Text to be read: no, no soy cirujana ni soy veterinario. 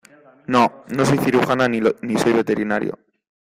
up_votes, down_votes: 1, 2